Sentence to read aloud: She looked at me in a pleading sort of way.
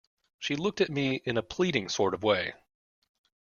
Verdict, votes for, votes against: accepted, 2, 0